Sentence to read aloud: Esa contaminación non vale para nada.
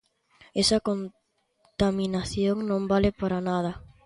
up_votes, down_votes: 0, 2